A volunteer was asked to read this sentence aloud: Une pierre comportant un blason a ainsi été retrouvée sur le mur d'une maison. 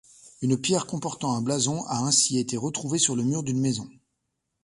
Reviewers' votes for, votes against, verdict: 2, 0, accepted